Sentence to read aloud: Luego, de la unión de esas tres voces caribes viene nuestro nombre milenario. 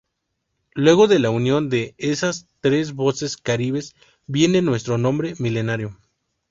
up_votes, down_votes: 0, 2